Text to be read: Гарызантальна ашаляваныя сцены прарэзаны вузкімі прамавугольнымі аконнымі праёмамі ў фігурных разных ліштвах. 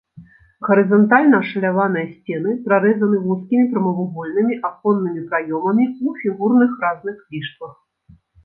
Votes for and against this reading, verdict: 0, 2, rejected